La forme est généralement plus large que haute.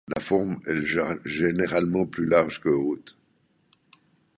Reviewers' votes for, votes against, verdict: 1, 2, rejected